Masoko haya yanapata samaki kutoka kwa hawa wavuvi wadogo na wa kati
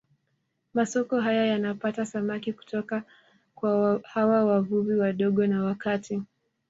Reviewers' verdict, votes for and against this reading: accepted, 2, 0